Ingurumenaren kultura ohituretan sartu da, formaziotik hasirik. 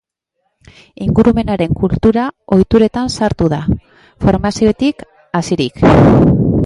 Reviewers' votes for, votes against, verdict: 2, 0, accepted